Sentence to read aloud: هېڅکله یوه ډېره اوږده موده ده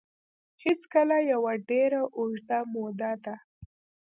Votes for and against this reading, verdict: 1, 2, rejected